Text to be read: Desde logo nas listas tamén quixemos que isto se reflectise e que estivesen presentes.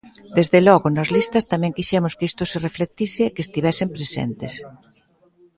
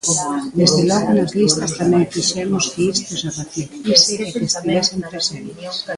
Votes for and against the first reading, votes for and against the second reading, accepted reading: 2, 0, 0, 2, first